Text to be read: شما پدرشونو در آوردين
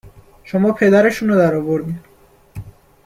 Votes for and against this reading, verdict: 2, 0, accepted